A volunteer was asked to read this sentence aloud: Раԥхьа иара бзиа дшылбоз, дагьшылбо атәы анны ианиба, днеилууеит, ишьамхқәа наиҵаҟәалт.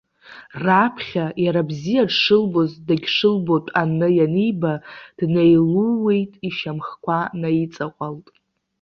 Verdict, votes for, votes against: rejected, 1, 2